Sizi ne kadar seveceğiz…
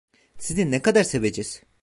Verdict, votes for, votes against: rejected, 0, 2